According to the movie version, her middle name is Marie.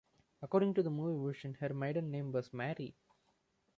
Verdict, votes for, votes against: rejected, 1, 2